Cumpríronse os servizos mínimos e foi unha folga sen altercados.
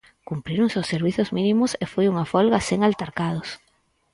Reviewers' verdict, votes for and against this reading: accepted, 6, 0